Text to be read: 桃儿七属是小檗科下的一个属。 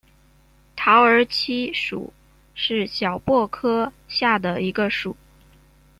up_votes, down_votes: 2, 0